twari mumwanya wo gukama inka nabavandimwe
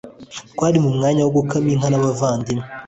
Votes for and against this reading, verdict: 2, 0, accepted